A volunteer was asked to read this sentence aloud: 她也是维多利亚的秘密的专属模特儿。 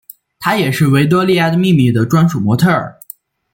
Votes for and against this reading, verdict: 2, 0, accepted